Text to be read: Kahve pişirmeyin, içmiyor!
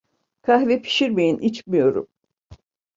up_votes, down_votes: 0, 2